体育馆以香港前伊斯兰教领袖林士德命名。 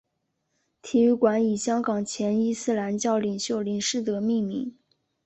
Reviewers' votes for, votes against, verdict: 4, 2, accepted